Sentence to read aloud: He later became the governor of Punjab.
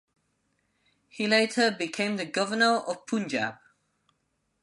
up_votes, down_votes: 2, 0